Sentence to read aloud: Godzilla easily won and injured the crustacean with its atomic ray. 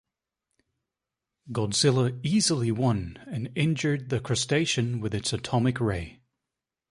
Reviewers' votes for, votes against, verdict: 2, 0, accepted